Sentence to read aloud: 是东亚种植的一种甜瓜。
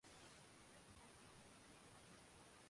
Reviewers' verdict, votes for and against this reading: rejected, 0, 4